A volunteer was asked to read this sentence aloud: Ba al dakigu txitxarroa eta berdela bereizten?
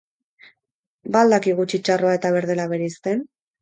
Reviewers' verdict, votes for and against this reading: accepted, 6, 0